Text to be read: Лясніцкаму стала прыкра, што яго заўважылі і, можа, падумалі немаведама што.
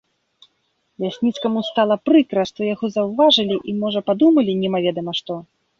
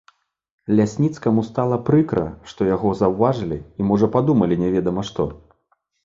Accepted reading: first